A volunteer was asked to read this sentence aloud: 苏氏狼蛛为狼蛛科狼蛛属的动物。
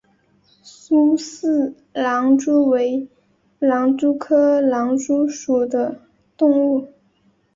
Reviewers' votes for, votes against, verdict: 1, 2, rejected